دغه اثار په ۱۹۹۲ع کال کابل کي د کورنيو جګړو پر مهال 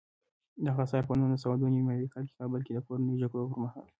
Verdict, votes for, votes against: rejected, 0, 2